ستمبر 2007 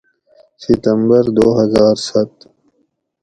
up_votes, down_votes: 0, 2